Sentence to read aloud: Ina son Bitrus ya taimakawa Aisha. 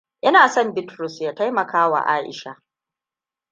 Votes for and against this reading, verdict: 2, 1, accepted